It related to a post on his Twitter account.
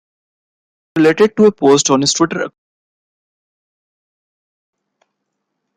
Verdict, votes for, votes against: rejected, 0, 2